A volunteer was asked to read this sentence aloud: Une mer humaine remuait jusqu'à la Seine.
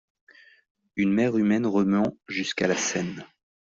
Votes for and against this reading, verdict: 0, 2, rejected